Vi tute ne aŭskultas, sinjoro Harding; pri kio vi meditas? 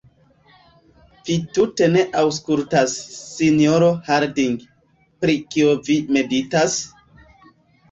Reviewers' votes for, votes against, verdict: 1, 2, rejected